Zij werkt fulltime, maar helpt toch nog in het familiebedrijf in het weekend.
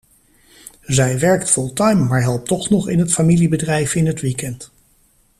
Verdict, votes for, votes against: accepted, 2, 1